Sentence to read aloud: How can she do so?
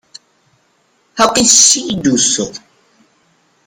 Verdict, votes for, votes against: accepted, 2, 0